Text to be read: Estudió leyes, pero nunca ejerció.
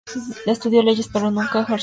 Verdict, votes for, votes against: rejected, 0, 4